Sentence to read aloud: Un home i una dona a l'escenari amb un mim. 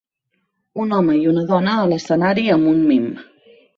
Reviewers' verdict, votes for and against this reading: accepted, 4, 0